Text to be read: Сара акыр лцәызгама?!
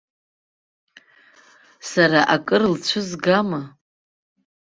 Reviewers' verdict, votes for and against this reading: rejected, 0, 2